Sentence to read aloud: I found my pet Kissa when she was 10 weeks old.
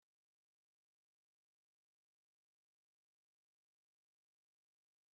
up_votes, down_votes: 0, 2